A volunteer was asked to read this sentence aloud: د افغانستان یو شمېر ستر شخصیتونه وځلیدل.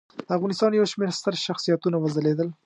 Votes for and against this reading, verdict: 2, 0, accepted